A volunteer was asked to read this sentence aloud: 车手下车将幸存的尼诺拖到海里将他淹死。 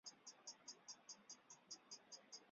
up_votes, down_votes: 0, 4